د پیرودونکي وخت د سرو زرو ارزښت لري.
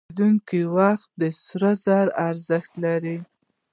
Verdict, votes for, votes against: rejected, 0, 2